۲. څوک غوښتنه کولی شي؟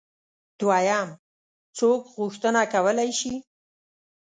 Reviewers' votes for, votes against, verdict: 0, 2, rejected